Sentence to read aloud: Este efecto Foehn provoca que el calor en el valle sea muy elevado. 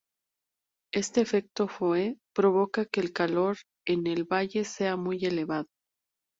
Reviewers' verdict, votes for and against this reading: rejected, 0, 2